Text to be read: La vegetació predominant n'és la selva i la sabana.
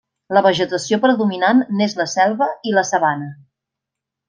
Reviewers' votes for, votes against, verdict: 3, 0, accepted